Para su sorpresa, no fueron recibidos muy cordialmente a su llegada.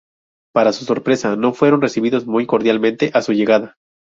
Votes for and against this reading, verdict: 0, 2, rejected